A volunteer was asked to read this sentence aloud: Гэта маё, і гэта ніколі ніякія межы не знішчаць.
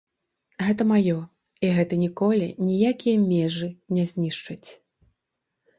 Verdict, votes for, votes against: rejected, 0, 2